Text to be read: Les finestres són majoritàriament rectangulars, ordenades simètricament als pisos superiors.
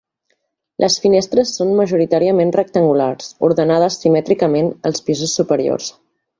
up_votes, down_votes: 3, 1